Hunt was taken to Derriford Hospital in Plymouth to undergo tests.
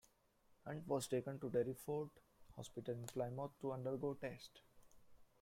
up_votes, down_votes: 0, 2